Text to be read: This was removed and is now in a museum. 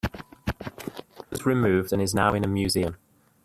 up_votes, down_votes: 0, 2